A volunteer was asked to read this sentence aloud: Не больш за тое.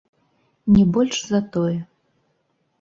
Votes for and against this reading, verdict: 1, 3, rejected